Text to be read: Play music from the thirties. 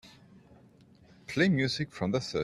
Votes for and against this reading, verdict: 0, 2, rejected